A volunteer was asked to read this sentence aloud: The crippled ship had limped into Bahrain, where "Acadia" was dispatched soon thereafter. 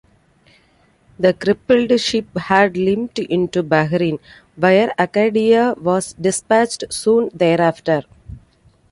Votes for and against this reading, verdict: 2, 0, accepted